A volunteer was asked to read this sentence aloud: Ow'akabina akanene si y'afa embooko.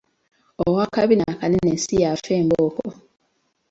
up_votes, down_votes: 2, 0